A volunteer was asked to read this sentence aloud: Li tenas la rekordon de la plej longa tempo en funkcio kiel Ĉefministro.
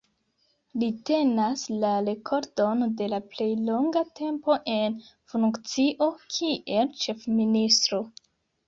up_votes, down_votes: 2, 0